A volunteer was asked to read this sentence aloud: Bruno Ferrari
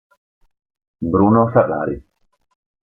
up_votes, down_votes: 2, 0